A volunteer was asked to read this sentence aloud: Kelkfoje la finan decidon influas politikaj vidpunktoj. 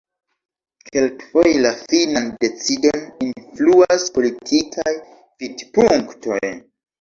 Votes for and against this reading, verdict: 2, 0, accepted